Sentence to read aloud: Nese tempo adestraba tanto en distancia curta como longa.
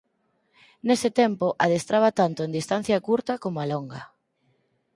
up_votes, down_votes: 0, 4